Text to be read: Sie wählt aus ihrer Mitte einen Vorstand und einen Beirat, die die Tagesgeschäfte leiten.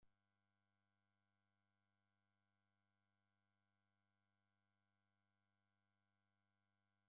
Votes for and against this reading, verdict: 0, 2, rejected